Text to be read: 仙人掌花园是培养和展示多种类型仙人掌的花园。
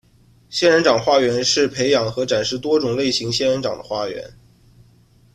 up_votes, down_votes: 2, 0